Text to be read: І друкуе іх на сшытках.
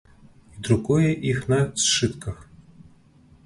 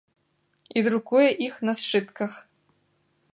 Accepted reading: second